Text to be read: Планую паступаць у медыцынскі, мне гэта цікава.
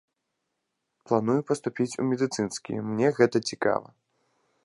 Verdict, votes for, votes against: rejected, 0, 2